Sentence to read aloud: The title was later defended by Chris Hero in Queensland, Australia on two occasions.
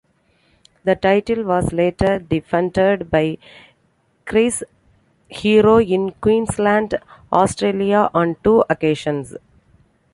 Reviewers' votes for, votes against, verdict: 2, 0, accepted